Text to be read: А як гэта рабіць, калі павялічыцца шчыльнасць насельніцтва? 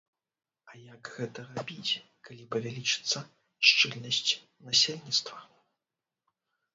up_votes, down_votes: 0, 2